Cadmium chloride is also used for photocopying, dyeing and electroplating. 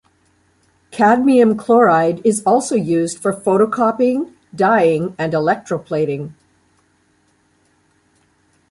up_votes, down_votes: 2, 0